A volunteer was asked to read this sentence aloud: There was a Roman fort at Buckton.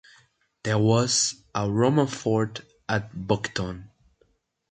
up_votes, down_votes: 2, 0